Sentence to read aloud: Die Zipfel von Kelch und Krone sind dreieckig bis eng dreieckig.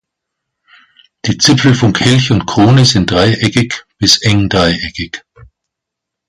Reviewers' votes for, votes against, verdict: 2, 0, accepted